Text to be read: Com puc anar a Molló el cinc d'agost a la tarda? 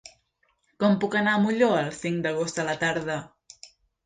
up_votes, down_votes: 3, 0